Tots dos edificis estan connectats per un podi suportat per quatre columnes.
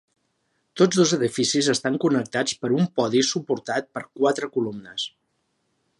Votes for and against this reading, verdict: 3, 0, accepted